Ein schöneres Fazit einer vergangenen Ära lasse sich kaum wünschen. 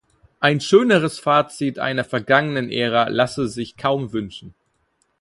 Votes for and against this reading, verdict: 4, 0, accepted